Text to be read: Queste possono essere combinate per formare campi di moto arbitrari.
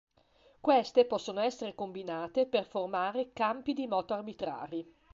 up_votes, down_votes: 2, 0